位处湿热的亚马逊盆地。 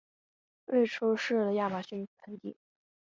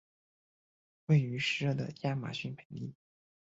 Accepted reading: first